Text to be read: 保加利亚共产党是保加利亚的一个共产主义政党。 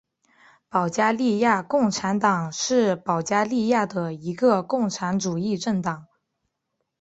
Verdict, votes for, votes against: accepted, 4, 3